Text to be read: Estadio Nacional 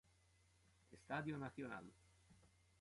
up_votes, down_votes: 0, 2